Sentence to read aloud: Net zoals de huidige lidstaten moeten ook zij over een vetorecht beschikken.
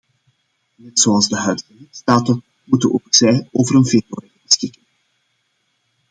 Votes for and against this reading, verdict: 0, 2, rejected